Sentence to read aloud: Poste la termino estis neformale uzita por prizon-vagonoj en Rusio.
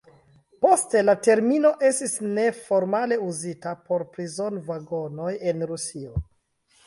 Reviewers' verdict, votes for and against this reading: rejected, 1, 2